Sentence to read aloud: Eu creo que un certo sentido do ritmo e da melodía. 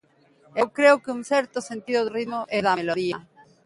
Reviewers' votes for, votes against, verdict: 10, 13, rejected